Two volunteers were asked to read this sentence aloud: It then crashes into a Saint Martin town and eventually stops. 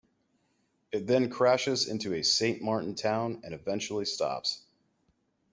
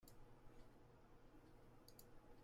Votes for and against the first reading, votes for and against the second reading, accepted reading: 2, 0, 0, 2, first